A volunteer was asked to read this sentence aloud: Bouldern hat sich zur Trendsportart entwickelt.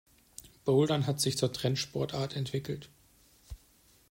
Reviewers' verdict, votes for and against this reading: accepted, 2, 0